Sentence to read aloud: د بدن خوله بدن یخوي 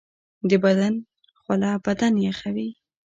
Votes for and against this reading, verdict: 2, 0, accepted